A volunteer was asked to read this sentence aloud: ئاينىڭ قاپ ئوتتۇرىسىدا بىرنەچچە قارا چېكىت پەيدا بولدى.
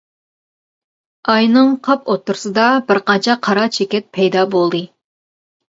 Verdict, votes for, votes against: rejected, 0, 2